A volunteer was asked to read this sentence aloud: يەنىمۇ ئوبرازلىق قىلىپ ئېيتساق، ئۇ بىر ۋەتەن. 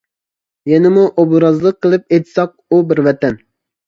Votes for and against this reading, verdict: 2, 0, accepted